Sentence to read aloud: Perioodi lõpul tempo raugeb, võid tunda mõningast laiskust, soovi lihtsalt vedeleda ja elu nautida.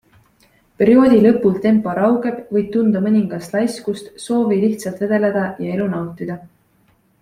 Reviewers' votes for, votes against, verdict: 2, 0, accepted